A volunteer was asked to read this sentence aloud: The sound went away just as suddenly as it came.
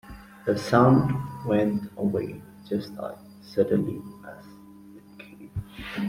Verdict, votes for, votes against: rejected, 1, 2